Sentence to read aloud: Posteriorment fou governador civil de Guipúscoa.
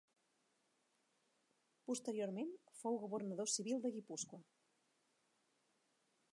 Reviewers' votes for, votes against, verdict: 0, 2, rejected